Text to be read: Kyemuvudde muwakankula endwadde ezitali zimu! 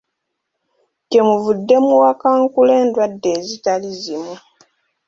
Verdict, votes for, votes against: accepted, 2, 0